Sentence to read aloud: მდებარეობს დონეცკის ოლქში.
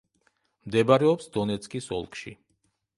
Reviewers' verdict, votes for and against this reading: accepted, 2, 0